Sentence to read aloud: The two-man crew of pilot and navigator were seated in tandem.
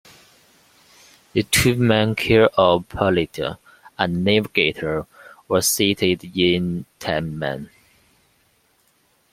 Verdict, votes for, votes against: rejected, 0, 2